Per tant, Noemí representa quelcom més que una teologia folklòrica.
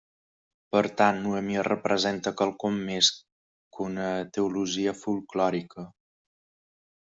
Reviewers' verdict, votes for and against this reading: rejected, 0, 2